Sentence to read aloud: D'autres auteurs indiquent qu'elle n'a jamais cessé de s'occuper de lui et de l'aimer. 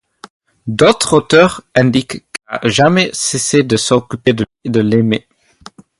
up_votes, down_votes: 0, 2